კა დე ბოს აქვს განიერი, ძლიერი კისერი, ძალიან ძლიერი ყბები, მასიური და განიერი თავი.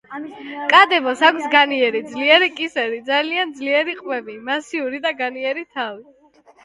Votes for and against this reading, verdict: 1, 2, rejected